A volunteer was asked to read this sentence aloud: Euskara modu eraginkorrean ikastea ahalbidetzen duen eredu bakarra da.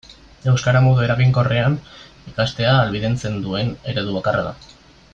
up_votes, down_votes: 1, 2